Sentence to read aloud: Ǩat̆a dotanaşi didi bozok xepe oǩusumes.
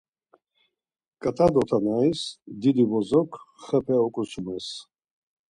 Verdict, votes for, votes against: rejected, 2, 4